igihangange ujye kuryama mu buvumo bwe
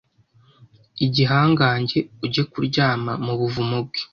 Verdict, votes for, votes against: accepted, 2, 0